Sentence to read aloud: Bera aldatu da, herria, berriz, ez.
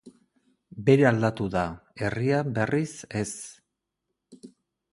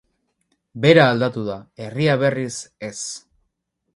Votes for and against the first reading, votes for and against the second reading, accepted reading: 2, 2, 6, 0, second